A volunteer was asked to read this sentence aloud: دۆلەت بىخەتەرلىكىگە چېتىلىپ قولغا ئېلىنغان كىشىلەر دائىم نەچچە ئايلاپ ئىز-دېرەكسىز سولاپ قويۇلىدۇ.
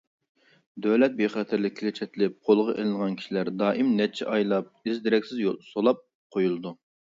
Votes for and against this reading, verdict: 0, 2, rejected